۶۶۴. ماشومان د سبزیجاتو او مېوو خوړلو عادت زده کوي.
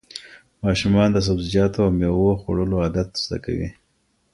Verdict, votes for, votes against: rejected, 0, 2